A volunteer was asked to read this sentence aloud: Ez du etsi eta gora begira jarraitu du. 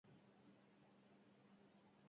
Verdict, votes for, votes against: rejected, 0, 6